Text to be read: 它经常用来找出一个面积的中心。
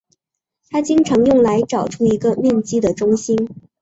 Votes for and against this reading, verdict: 2, 0, accepted